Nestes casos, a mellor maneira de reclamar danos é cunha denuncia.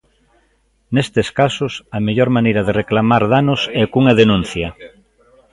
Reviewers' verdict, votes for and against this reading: rejected, 1, 2